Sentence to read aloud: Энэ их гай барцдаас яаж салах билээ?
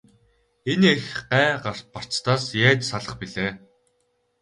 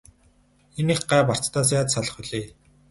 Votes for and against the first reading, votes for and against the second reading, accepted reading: 4, 0, 0, 2, first